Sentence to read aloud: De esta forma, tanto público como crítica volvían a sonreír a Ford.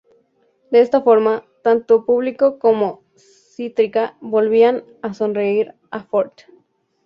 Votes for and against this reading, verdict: 2, 0, accepted